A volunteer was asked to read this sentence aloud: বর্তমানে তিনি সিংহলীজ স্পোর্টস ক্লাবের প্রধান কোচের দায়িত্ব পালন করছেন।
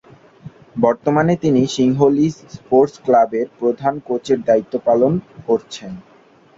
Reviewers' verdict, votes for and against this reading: accepted, 2, 0